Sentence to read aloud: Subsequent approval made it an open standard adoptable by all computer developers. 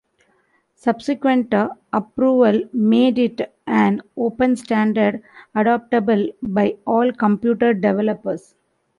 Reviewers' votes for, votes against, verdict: 2, 0, accepted